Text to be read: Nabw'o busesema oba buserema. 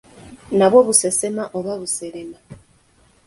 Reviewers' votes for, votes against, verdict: 2, 0, accepted